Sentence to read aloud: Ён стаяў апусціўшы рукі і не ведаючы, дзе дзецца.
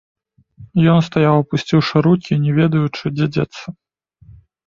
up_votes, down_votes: 3, 0